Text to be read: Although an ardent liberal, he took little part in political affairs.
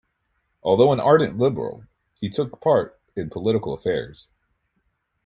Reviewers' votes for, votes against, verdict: 0, 2, rejected